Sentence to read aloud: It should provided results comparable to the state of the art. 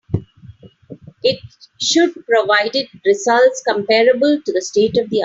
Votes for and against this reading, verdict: 0, 2, rejected